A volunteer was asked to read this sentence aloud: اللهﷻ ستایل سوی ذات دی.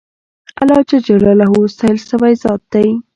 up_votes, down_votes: 1, 2